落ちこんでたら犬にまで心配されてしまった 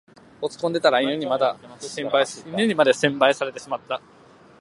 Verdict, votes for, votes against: rejected, 1, 2